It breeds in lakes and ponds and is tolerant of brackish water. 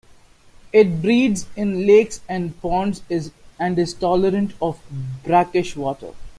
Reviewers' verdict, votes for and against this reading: rejected, 0, 2